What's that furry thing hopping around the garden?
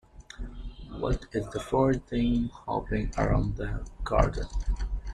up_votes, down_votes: 1, 2